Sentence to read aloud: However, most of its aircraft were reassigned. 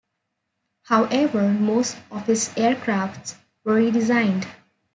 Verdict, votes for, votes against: rejected, 0, 2